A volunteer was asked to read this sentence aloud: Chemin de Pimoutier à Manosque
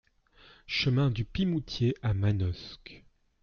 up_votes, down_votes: 0, 2